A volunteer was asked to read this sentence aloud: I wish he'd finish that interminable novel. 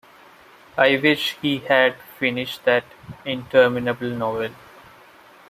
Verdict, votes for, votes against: rejected, 1, 2